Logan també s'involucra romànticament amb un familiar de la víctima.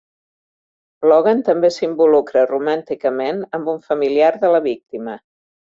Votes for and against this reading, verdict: 3, 0, accepted